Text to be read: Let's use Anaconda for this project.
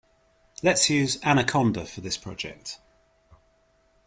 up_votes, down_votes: 2, 0